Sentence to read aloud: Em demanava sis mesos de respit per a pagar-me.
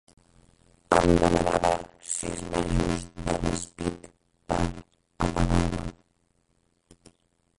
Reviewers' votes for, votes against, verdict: 0, 4, rejected